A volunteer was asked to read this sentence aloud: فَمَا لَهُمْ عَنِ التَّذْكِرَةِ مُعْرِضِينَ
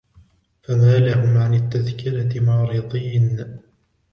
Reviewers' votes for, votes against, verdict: 1, 2, rejected